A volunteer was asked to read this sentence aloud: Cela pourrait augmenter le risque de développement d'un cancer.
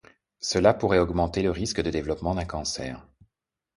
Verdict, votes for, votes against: accepted, 2, 0